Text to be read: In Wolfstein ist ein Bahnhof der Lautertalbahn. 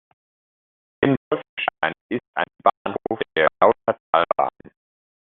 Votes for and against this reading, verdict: 0, 2, rejected